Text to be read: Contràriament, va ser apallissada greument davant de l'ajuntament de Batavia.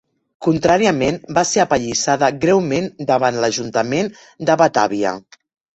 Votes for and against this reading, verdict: 2, 3, rejected